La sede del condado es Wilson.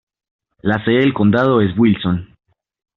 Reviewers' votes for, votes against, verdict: 2, 0, accepted